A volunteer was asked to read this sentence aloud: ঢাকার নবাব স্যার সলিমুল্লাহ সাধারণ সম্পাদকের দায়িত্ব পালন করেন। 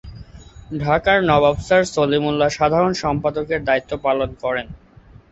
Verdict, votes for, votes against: accepted, 3, 0